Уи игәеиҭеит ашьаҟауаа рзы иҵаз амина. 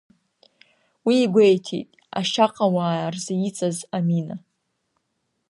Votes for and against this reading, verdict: 6, 1, accepted